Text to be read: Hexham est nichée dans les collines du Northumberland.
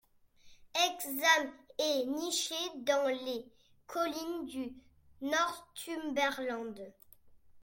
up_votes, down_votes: 2, 0